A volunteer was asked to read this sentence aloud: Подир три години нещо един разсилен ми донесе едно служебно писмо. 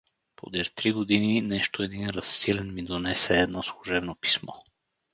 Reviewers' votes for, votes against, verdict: 2, 2, rejected